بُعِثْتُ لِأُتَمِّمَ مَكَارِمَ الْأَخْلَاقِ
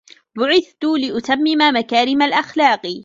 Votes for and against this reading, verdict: 2, 0, accepted